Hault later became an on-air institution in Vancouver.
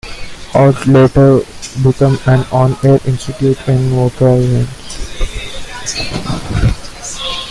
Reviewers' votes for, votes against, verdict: 0, 2, rejected